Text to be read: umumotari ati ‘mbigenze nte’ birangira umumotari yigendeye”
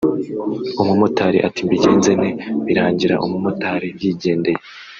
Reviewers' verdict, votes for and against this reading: rejected, 1, 2